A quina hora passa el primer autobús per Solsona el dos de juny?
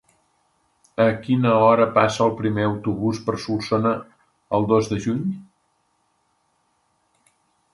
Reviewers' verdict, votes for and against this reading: accepted, 2, 0